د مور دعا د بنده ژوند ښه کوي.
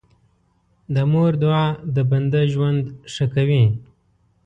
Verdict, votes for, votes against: accepted, 2, 0